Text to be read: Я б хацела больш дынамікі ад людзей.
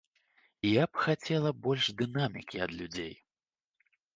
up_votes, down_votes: 3, 0